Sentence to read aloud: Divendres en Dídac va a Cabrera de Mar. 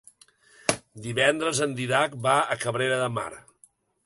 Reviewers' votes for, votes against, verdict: 0, 2, rejected